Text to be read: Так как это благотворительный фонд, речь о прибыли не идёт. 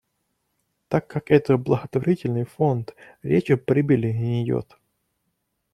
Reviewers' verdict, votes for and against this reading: accepted, 2, 0